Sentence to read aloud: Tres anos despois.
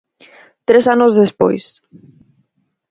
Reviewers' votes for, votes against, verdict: 4, 2, accepted